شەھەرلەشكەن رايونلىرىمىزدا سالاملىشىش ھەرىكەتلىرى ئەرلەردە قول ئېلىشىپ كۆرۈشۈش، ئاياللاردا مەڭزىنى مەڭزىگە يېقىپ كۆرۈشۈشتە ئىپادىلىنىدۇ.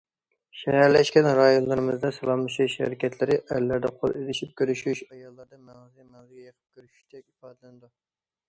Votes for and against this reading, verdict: 1, 2, rejected